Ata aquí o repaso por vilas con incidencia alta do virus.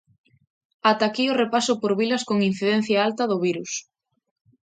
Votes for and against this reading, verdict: 2, 0, accepted